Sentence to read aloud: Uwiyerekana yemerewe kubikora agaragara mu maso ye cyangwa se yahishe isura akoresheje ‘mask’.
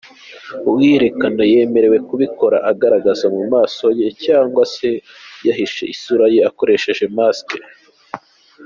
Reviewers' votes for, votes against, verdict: 2, 1, accepted